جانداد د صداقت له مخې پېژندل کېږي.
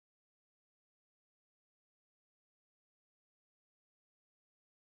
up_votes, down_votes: 0, 2